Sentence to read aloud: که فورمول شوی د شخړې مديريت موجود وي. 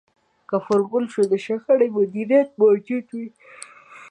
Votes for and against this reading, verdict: 0, 3, rejected